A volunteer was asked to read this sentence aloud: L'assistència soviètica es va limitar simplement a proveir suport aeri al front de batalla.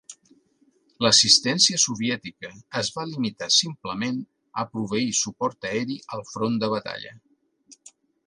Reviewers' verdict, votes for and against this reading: accepted, 2, 0